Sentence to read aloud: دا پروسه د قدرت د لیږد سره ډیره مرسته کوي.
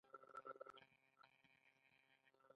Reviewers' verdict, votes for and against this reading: accepted, 2, 1